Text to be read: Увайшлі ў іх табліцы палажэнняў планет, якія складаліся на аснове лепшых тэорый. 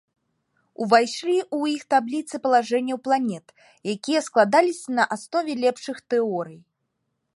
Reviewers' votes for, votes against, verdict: 0, 2, rejected